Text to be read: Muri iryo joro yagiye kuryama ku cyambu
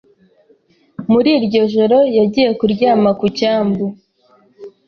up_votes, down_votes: 2, 0